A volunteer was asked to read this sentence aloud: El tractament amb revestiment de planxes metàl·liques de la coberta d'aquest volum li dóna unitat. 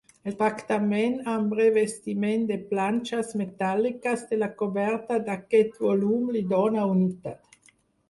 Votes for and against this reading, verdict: 0, 4, rejected